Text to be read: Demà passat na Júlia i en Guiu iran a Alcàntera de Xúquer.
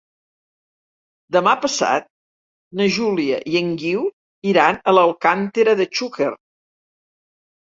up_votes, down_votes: 1, 2